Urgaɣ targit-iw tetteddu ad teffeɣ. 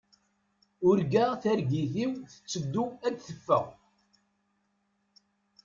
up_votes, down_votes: 2, 0